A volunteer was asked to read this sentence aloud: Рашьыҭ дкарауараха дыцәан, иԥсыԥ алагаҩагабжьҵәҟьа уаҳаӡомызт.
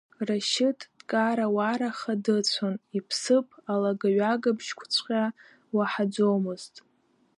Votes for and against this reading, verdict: 0, 2, rejected